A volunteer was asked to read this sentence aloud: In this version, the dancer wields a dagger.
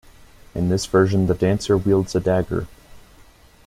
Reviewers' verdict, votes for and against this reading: accepted, 2, 0